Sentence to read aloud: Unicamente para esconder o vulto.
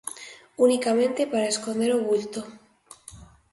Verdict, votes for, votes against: accepted, 2, 0